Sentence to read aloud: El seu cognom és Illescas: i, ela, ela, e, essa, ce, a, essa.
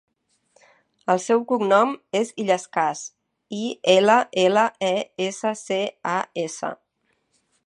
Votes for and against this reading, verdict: 1, 2, rejected